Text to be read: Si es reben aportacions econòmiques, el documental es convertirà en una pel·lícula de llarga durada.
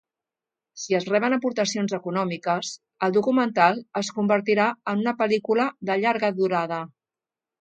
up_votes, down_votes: 2, 0